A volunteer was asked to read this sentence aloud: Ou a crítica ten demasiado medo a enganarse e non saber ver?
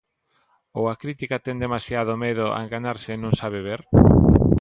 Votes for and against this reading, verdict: 1, 2, rejected